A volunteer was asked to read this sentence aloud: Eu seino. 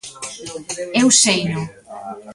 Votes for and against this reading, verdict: 2, 1, accepted